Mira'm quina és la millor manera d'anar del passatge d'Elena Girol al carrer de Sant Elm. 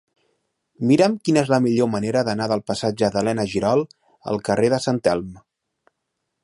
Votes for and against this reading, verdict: 2, 0, accepted